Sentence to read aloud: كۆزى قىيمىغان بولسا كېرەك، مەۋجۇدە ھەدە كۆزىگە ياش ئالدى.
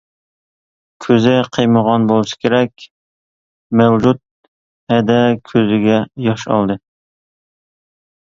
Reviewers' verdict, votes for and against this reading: rejected, 1, 2